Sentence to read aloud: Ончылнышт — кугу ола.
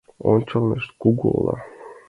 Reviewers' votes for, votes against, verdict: 2, 1, accepted